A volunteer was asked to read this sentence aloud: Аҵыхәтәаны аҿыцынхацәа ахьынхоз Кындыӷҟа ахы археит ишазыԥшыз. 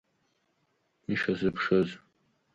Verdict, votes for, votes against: rejected, 1, 3